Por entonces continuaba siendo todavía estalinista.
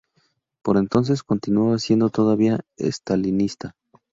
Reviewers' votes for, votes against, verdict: 2, 0, accepted